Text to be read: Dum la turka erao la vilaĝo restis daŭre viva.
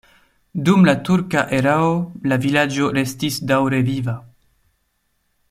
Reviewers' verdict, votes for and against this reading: accepted, 2, 0